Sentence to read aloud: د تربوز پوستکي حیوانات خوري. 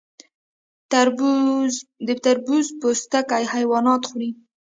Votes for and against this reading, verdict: 2, 0, accepted